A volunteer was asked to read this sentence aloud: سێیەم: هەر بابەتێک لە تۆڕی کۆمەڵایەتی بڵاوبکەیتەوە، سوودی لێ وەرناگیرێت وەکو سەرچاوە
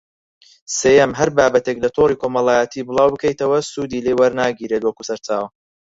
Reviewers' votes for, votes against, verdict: 0, 4, rejected